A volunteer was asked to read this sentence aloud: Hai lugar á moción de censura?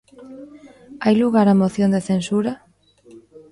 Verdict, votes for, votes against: rejected, 1, 2